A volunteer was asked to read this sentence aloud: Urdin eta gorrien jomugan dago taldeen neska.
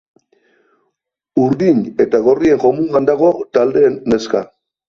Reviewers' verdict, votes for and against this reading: accepted, 2, 0